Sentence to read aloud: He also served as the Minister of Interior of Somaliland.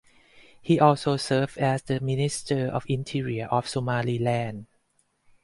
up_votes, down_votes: 4, 0